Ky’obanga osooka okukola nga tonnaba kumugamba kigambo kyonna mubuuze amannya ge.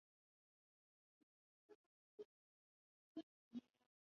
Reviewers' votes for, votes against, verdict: 0, 2, rejected